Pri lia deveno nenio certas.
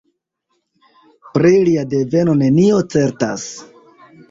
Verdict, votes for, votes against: accepted, 2, 0